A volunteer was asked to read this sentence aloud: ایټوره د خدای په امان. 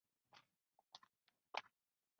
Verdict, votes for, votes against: rejected, 0, 2